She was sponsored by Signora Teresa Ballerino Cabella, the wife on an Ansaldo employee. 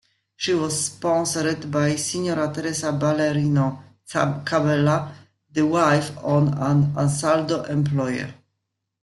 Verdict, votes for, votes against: rejected, 1, 2